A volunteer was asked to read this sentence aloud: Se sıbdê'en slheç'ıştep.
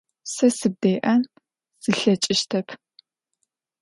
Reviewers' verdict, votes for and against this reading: accepted, 2, 0